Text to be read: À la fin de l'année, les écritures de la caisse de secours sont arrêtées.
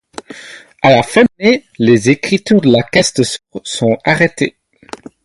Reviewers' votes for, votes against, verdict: 4, 0, accepted